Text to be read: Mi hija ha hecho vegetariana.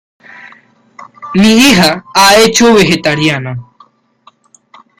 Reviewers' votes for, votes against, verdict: 2, 0, accepted